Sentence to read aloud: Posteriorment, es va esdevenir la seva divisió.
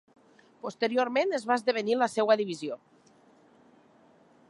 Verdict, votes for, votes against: rejected, 0, 3